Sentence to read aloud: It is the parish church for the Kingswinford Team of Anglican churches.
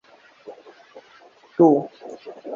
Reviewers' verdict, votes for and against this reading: rejected, 0, 2